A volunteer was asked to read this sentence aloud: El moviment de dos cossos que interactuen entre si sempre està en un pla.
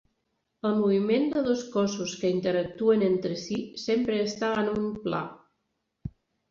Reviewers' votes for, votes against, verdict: 4, 0, accepted